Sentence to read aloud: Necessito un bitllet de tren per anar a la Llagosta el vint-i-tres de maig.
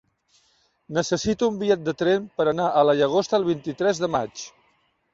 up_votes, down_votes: 2, 0